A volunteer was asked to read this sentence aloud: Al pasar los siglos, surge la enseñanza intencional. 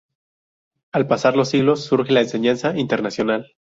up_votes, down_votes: 0, 2